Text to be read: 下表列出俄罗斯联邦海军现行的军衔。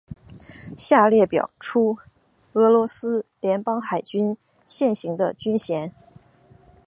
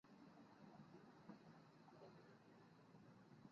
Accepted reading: first